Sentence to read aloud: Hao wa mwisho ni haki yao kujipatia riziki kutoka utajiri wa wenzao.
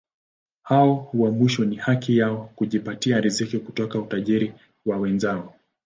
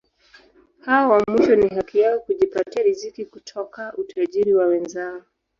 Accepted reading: first